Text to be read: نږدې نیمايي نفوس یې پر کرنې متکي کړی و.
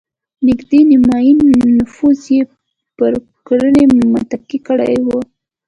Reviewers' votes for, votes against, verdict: 1, 2, rejected